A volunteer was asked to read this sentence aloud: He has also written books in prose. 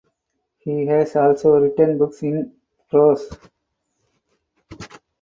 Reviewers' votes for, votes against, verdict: 4, 0, accepted